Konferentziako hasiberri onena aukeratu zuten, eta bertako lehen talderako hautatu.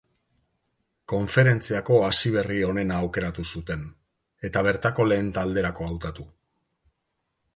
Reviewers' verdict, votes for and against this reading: accepted, 3, 0